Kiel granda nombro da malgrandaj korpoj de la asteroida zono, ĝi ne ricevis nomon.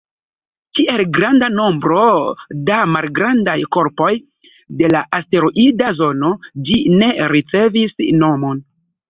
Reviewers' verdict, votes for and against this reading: rejected, 1, 2